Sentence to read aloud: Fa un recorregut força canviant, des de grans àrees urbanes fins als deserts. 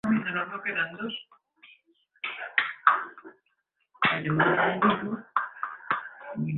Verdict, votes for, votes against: rejected, 0, 2